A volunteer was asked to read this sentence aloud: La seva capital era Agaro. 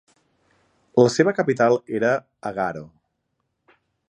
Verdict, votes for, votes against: accepted, 2, 0